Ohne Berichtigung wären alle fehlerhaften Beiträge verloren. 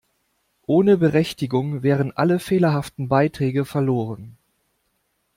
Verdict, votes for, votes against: rejected, 0, 2